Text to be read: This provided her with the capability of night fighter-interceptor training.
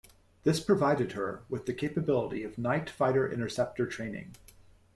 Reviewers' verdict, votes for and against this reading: accepted, 2, 0